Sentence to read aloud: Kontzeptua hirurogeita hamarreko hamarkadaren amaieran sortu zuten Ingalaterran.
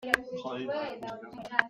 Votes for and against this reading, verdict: 0, 2, rejected